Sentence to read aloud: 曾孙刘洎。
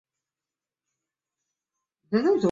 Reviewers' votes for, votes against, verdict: 0, 2, rejected